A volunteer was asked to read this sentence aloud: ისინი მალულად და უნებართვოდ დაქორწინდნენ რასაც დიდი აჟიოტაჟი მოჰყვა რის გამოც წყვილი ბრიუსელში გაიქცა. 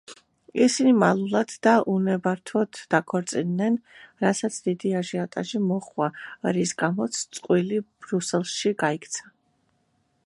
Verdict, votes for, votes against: rejected, 1, 2